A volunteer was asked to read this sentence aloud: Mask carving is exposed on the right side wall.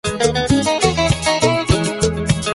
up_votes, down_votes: 0, 2